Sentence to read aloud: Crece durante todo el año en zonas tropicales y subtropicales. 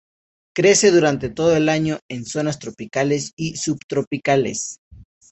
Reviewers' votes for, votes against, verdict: 2, 0, accepted